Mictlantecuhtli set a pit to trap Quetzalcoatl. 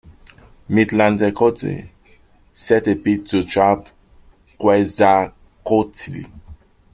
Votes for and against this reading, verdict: 0, 2, rejected